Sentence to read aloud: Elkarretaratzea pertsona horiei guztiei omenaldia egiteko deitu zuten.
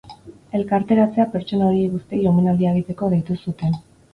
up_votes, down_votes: 0, 2